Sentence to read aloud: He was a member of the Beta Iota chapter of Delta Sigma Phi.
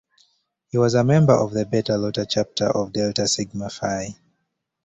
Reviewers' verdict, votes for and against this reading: accepted, 2, 0